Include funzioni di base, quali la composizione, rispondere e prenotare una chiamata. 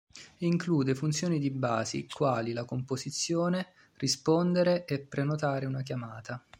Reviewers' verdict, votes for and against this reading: rejected, 2, 3